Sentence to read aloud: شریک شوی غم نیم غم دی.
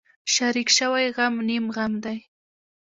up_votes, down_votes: 1, 2